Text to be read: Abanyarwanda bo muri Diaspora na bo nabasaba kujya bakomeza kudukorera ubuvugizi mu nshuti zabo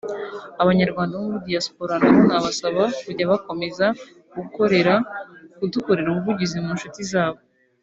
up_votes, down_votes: 0, 2